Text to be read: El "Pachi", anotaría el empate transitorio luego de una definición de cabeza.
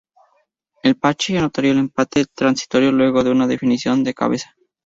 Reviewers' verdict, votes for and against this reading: rejected, 2, 2